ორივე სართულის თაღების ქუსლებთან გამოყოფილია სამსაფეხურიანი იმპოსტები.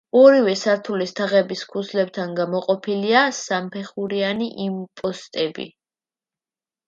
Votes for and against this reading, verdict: 1, 2, rejected